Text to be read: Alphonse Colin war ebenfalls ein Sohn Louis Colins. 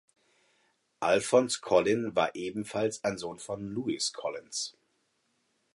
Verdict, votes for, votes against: rejected, 0, 4